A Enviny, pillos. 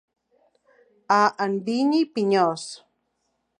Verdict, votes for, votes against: rejected, 1, 2